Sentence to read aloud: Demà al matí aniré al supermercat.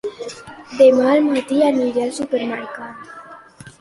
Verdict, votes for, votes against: accepted, 2, 1